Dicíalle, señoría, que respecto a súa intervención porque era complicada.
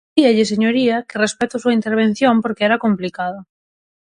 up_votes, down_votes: 0, 6